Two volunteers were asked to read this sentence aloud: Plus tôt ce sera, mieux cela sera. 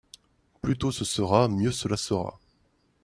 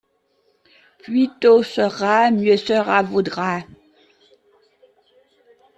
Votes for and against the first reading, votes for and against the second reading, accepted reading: 2, 0, 0, 2, first